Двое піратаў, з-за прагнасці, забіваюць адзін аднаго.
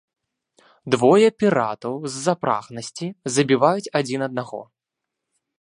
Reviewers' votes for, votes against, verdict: 2, 0, accepted